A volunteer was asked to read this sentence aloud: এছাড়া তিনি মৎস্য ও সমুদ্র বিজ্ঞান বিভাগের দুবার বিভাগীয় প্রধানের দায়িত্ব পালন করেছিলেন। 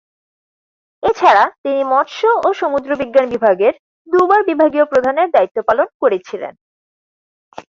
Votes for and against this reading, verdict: 4, 0, accepted